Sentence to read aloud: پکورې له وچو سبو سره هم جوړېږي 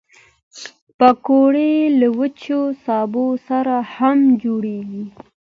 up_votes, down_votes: 2, 0